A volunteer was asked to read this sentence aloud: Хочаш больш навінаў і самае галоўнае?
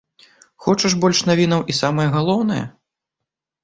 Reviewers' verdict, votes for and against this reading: accepted, 2, 0